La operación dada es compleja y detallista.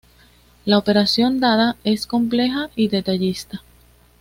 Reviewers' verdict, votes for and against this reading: accepted, 2, 0